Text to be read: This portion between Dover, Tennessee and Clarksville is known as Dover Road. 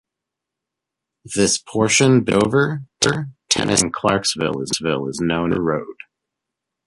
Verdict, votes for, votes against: rejected, 0, 2